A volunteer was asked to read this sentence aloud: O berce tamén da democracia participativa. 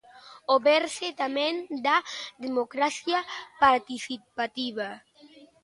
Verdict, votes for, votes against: accepted, 2, 0